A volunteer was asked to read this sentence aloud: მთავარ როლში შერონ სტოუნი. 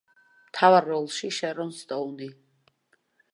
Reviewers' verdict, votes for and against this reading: accepted, 3, 0